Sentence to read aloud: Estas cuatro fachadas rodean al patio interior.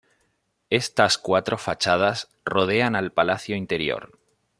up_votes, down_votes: 0, 2